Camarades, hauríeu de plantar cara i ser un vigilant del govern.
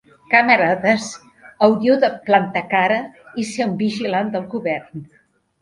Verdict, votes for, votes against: accepted, 2, 1